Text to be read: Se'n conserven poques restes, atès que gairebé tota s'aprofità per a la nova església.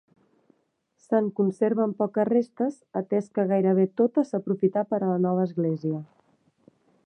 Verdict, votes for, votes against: accepted, 2, 1